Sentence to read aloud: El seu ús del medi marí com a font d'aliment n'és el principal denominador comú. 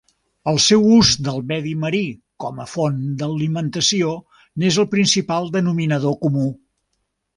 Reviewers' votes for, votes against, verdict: 1, 2, rejected